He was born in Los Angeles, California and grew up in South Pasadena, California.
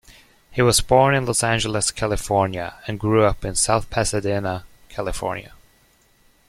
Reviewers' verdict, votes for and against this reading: accepted, 3, 0